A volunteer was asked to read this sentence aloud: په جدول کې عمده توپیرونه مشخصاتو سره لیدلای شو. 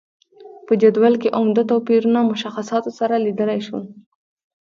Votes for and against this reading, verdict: 0, 2, rejected